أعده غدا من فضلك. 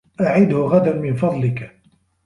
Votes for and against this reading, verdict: 2, 0, accepted